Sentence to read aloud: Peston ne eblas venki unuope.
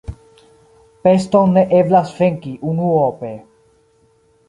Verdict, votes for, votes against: accepted, 2, 0